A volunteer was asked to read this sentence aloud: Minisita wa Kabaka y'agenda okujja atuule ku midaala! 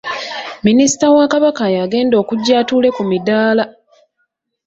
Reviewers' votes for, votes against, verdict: 3, 0, accepted